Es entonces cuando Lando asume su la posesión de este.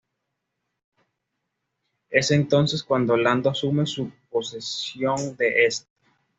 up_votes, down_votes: 0, 2